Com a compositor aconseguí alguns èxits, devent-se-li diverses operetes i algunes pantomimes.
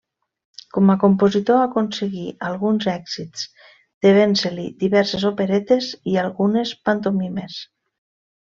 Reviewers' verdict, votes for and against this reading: accepted, 2, 0